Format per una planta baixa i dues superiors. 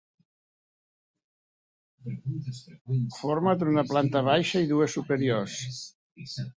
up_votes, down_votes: 1, 3